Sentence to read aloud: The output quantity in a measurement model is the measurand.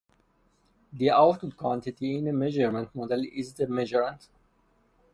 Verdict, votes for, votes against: accepted, 2, 0